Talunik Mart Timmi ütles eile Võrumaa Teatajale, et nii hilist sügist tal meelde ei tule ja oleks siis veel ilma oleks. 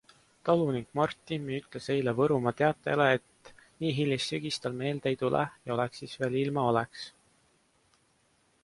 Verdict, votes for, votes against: accepted, 2, 1